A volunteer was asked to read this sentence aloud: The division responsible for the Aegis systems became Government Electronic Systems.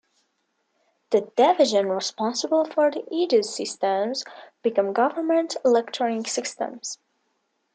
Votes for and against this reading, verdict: 1, 2, rejected